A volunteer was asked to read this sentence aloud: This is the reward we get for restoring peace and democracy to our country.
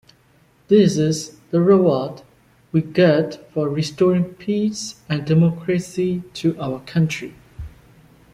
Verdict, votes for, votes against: accepted, 2, 1